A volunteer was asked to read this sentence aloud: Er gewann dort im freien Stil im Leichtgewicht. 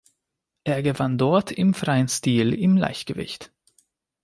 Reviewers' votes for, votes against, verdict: 2, 0, accepted